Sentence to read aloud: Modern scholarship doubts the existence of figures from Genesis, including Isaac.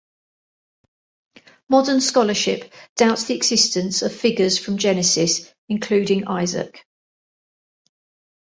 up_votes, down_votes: 2, 0